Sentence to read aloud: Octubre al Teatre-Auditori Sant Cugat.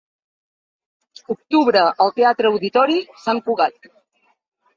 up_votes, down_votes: 3, 0